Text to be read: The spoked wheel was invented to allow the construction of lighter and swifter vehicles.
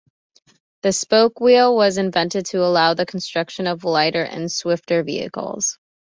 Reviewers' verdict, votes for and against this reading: accepted, 2, 0